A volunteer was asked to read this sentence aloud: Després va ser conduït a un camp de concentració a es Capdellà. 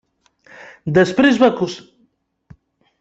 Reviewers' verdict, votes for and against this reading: rejected, 0, 2